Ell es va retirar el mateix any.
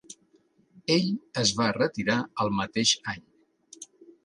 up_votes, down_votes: 3, 0